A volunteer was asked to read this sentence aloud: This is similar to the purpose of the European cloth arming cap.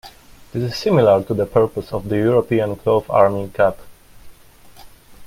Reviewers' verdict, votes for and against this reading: accepted, 2, 0